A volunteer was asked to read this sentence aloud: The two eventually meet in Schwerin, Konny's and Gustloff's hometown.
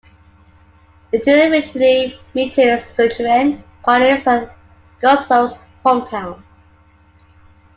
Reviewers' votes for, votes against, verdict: 1, 2, rejected